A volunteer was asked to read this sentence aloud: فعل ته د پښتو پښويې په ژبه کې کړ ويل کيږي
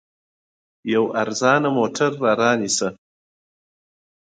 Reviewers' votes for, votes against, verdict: 1, 2, rejected